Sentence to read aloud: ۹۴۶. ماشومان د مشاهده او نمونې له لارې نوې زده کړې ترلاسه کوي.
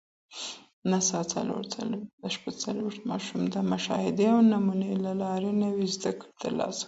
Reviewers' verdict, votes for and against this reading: rejected, 0, 2